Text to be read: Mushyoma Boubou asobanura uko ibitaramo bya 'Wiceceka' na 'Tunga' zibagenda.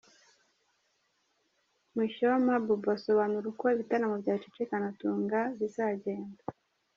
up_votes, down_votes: 1, 2